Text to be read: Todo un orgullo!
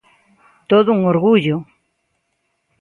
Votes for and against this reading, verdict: 3, 0, accepted